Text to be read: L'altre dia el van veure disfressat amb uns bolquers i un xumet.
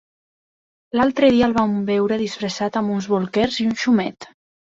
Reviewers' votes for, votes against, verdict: 2, 0, accepted